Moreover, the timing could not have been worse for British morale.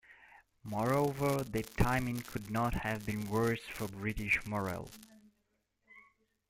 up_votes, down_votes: 1, 2